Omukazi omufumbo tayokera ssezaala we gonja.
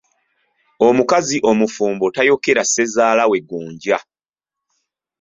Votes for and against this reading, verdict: 2, 0, accepted